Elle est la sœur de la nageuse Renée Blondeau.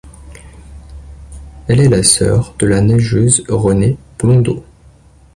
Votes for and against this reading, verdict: 2, 0, accepted